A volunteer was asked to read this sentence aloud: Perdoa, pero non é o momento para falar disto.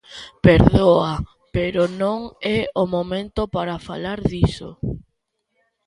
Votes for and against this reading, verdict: 1, 2, rejected